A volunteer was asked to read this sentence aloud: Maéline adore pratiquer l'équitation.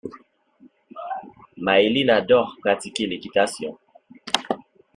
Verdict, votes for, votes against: accepted, 2, 0